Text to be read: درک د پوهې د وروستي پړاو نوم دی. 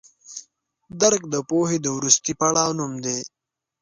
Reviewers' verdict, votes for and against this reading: accepted, 2, 0